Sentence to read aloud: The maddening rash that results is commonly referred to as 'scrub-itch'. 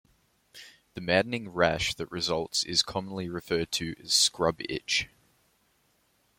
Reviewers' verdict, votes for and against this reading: accepted, 2, 0